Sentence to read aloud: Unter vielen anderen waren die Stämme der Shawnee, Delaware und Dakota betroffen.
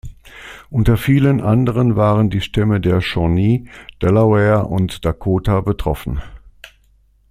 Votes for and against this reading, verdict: 2, 0, accepted